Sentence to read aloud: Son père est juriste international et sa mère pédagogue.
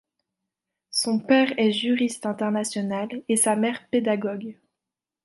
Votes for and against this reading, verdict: 2, 0, accepted